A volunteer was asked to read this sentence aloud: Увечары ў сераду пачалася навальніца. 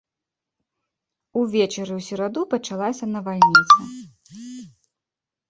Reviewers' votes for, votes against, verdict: 1, 2, rejected